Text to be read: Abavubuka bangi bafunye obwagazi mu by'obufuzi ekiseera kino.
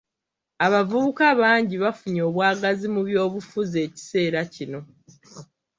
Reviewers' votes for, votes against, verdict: 2, 1, accepted